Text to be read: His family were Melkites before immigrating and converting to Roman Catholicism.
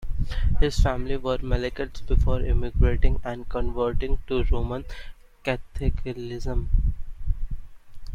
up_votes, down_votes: 0, 2